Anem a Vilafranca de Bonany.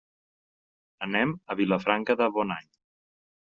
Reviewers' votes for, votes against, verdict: 3, 0, accepted